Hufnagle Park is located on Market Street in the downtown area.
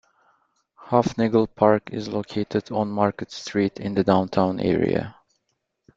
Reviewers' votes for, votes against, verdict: 2, 0, accepted